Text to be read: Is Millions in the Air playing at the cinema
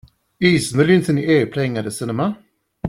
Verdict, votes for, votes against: rejected, 0, 2